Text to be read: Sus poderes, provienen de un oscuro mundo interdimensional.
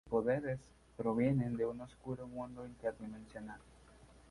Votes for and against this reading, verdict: 0, 2, rejected